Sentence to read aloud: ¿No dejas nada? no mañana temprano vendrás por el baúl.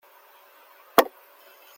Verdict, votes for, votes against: rejected, 1, 2